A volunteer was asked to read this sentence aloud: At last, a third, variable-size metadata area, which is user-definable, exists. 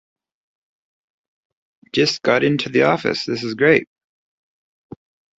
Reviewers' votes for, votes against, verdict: 0, 2, rejected